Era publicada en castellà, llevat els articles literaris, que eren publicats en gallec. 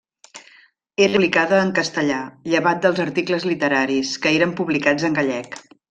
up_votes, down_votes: 1, 2